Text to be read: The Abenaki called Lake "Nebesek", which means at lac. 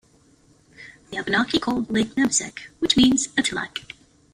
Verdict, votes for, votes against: rejected, 1, 2